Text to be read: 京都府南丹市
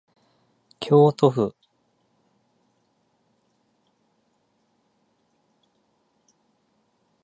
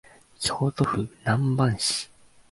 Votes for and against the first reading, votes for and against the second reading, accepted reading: 0, 2, 3, 1, second